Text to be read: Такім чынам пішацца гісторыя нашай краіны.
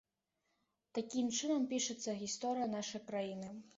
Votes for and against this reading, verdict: 2, 0, accepted